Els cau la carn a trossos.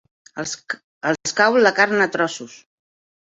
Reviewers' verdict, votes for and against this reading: rejected, 0, 2